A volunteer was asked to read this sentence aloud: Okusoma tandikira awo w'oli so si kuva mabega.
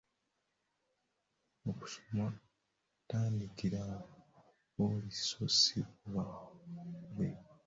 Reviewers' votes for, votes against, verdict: 0, 3, rejected